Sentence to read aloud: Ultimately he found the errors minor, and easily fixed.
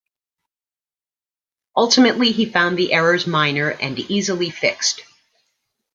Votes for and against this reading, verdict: 2, 0, accepted